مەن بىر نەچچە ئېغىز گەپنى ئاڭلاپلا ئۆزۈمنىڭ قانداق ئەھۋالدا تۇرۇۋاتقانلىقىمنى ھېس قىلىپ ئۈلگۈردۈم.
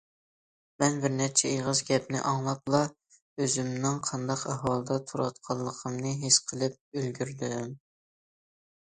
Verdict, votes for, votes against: accepted, 2, 0